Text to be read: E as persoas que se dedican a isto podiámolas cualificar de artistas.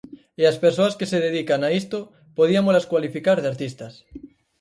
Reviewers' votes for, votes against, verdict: 2, 4, rejected